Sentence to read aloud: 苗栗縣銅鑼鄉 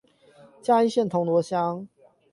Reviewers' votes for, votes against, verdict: 0, 8, rejected